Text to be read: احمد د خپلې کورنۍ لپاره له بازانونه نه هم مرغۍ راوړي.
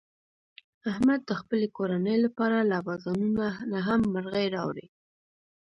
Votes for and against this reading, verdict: 1, 2, rejected